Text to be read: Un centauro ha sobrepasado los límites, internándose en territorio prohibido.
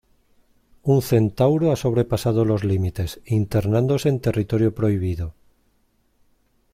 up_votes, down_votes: 2, 0